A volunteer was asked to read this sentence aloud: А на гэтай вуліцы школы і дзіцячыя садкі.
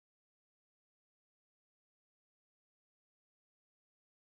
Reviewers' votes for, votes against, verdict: 0, 2, rejected